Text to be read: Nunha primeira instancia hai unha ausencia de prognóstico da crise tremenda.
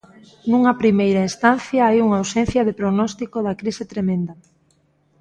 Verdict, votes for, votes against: accepted, 2, 0